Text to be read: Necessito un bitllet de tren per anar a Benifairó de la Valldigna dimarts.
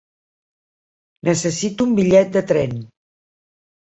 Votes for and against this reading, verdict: 0, 2, rejected